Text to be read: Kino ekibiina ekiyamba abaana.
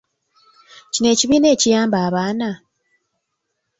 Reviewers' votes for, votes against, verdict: 0, 2, rejected